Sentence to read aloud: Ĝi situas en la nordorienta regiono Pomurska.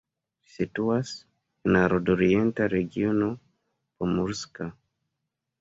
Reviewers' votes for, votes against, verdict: 2, 0, accepted